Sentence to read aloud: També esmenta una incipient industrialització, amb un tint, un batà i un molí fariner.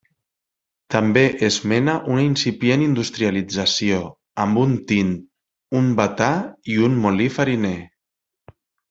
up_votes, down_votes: 0, 2